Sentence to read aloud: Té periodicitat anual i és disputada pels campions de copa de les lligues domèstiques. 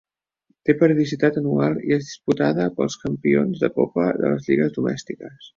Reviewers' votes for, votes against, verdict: 0, 2, rejected